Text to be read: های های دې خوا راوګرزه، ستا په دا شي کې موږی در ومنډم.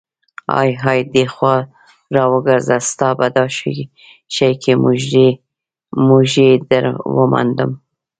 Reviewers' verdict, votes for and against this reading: rejected, 1, 2